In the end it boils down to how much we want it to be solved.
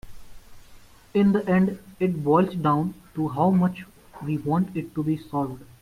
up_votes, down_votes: 2, 0